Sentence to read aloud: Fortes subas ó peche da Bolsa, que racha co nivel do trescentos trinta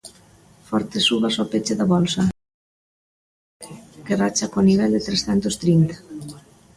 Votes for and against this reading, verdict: 0, 2, rejected